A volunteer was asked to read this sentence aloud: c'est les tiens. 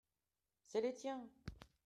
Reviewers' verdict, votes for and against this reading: accepted, 2, 0